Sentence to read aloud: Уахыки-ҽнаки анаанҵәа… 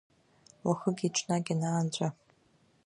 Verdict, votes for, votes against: accepted, 2, 0